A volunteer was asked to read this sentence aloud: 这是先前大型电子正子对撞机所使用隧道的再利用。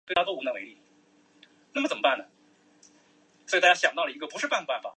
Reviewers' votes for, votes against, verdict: 0, 2, rejected